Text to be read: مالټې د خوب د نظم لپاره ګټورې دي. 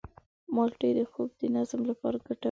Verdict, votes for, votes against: rejected, 1, 2